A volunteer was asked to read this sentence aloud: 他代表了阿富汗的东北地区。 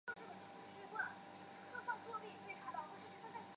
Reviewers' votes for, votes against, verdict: 1, 2, rejected